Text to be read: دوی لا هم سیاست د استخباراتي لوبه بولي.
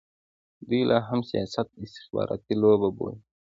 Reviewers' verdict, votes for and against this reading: accepted, 2, 0